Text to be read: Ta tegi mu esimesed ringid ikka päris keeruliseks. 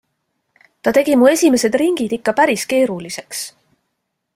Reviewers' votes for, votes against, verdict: 2, 0, accepted